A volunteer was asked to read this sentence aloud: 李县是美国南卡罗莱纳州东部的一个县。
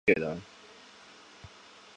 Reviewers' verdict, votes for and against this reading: rejected, 0, 5